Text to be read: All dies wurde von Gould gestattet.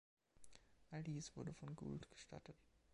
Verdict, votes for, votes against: accepted, 2, 0